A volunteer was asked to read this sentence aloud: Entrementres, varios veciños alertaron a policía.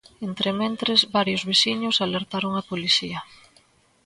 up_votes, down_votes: 2, 0